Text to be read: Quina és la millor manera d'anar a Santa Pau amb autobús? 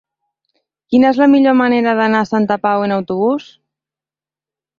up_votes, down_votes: 1, 2